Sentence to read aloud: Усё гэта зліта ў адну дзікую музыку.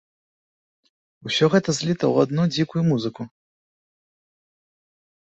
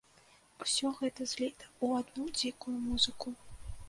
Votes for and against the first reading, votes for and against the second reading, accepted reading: 2, 0, 1, 2, first